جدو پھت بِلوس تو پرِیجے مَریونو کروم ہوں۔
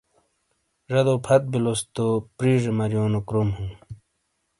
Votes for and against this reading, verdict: 2, 0, accepted